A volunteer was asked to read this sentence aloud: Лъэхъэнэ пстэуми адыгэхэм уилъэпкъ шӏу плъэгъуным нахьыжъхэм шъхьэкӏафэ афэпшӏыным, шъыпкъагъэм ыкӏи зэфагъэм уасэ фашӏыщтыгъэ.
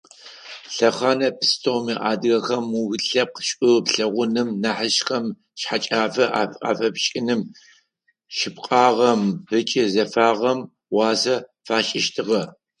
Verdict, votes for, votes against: rejected, 2, 4